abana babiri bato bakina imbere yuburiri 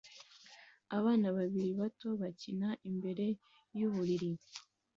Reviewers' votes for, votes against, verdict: 2, 0, accepted